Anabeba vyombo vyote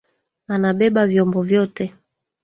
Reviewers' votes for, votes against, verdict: 1, 2, rejected